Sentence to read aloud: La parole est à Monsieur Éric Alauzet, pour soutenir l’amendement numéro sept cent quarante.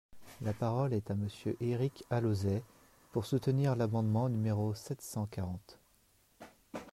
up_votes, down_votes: 2, 0